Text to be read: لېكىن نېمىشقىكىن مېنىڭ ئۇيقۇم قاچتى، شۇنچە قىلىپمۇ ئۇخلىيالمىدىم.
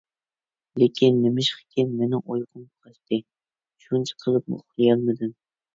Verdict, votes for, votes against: rejected, 0, 2